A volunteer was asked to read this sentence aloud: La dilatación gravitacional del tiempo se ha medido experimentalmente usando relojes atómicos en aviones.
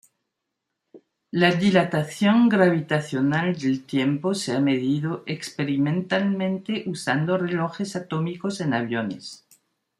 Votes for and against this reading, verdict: 2, 0, accepted